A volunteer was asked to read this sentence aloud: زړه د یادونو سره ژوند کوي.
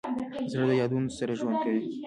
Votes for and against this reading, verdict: 0, 2, rejected